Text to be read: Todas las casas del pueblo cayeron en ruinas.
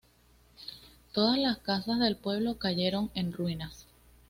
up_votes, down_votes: 2, 0